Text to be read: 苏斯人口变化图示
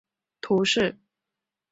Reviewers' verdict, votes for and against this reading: rejected, 1, 2